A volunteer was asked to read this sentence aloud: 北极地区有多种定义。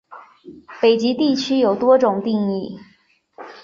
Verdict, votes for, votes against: accepted, 2, 0